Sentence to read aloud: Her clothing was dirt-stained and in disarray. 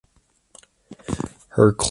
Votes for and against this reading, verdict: 0, 2, rejected